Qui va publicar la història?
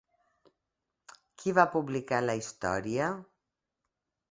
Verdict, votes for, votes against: accepted, 2, 0